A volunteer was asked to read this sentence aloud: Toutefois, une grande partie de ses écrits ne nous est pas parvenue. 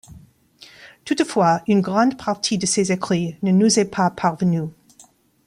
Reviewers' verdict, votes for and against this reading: accepted, 2, 0